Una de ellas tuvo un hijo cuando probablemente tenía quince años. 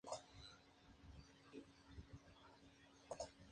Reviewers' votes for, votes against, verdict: 0, 2, rejected